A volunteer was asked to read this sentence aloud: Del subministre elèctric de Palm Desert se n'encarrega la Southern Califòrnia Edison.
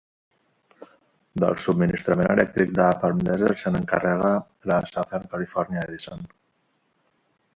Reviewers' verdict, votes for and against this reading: accepted, 2, 1